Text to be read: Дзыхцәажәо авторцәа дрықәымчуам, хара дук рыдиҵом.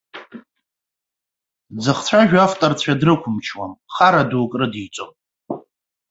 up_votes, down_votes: 2, 0